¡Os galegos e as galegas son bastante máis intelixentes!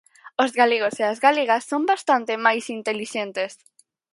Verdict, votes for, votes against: accepted, 4, 0